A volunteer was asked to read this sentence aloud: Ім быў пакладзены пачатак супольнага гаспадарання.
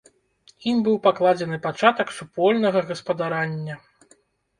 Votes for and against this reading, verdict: 1, 2, rejected